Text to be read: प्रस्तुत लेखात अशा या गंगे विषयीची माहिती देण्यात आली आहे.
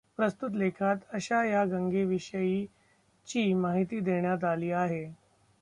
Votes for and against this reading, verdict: 0, 2, rejected